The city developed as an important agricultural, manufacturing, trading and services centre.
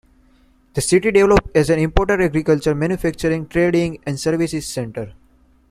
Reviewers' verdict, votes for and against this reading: accepted, 2, 1